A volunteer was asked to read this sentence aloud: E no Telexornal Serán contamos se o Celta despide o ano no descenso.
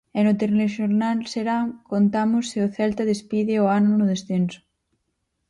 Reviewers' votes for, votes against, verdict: 0, 4, rejected